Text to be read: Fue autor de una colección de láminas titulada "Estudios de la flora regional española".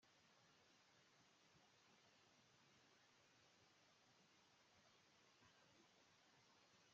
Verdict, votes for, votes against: rejected, 0, 2